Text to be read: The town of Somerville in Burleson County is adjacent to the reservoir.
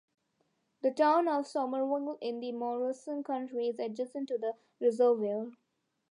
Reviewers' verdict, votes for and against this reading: rejected, 1, 2